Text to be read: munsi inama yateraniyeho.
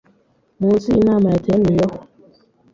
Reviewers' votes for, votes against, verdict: 2, 0, accepted